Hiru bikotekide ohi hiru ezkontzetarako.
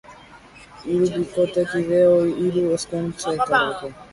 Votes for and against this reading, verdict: 2, 2, rejected